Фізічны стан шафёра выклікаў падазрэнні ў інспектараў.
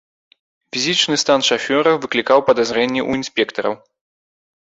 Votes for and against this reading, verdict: 2, 0, accepted